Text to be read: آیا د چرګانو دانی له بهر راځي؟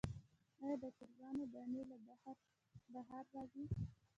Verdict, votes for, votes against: accepted, 2, 1